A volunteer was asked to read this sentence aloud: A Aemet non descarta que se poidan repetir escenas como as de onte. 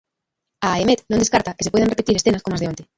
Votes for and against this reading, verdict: 0, 2, rejected